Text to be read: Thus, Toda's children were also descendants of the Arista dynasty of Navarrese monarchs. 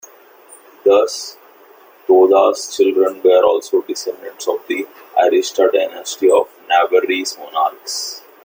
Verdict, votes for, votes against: accepted, 2, 0